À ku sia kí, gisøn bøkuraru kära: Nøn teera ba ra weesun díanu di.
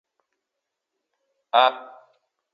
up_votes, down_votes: 0, 2